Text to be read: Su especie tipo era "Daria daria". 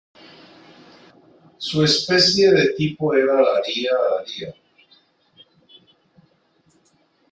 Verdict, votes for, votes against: accepted, 2, 1